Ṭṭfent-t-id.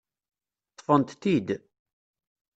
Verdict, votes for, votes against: accepted, 2, 0